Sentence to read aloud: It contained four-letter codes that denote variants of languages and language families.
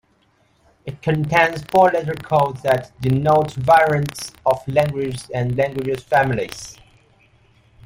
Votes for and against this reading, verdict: 0, 2, rejected